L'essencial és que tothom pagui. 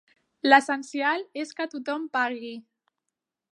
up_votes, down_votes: 2, 0